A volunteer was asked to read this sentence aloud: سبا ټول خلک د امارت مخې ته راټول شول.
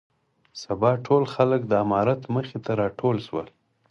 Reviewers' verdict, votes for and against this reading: accepted, 4, 0